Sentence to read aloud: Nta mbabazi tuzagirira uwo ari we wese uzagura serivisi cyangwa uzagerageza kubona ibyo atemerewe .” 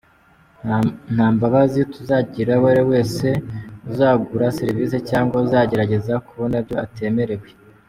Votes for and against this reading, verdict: 0, 2, rejected